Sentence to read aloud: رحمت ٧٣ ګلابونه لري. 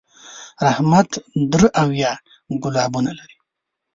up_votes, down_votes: 0, 2